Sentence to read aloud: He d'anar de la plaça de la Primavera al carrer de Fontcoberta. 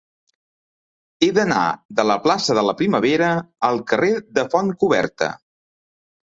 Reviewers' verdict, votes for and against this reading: accepted, 4, 0